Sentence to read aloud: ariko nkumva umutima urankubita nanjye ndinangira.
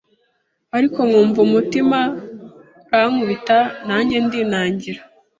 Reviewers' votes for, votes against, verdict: 1, 2, rejected